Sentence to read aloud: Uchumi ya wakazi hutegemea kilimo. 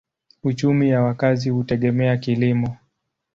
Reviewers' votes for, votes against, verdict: 2, 0, accepted